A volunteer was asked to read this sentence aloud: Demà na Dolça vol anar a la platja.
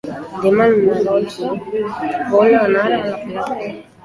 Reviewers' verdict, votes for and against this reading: rejected, 0, 2